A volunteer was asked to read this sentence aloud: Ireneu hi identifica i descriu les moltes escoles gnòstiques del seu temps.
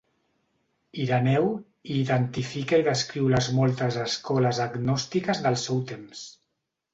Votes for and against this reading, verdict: 1, 2, rejected